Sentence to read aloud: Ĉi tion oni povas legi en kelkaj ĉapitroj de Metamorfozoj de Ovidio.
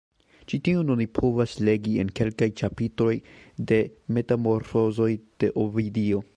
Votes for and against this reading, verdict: 1, 2, rejected